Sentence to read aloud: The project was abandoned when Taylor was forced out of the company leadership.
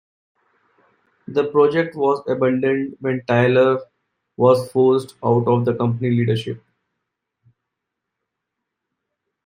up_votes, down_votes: 2, 1